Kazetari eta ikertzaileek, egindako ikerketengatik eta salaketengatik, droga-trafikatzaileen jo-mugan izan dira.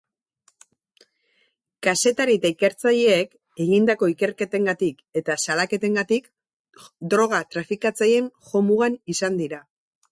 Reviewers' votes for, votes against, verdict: 2, 0, accepted